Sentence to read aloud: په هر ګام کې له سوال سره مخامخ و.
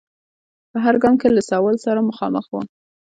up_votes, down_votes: 1, 2